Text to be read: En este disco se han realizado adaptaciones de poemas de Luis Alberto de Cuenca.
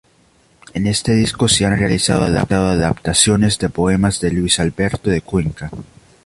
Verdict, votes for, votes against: rejected, 0, 2